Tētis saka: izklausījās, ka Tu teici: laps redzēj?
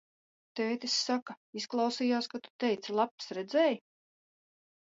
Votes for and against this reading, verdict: 0, 2, rejected